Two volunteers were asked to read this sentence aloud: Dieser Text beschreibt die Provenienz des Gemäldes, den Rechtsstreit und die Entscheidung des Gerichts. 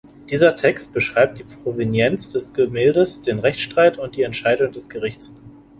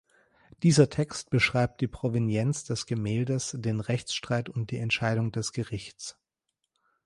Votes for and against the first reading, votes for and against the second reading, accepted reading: 1, 2, 2, 0, second